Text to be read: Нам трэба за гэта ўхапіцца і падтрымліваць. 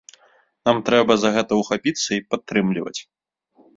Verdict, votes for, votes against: accepted, 2, 0